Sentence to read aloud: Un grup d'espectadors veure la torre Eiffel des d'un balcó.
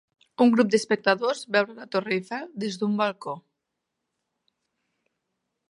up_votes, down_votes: 0, 2